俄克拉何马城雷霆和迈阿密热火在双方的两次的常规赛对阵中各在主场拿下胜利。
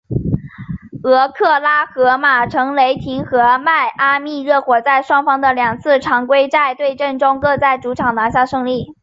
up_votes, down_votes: 3, 0